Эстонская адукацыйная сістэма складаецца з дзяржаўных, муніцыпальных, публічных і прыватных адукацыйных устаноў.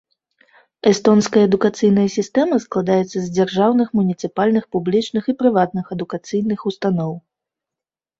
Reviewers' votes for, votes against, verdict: 3, 0, accepted